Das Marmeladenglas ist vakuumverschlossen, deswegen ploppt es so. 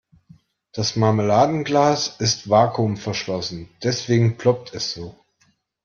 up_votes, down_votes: 3, 0